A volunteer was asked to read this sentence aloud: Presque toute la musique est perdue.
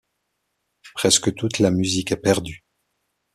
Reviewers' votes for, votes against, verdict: 2, 0, accepted